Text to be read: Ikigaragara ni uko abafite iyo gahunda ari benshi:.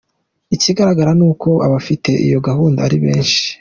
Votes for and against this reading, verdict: 2, 0, accepted